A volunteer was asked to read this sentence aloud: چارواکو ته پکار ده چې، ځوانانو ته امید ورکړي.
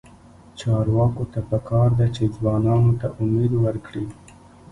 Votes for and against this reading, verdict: 0, 2, rejected